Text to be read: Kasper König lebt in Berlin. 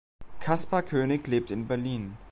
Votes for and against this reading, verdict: 2, 0, accepted